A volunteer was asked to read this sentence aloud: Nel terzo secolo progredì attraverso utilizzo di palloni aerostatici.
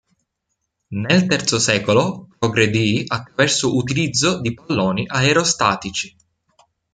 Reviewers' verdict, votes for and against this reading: rejected, 0, 2